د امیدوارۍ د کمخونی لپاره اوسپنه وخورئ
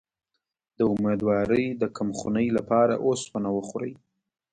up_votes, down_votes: 0, 2